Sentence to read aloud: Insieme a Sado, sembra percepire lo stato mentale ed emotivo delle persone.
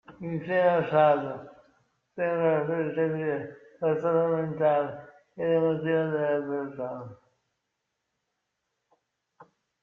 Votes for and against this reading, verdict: 0, 2, rejected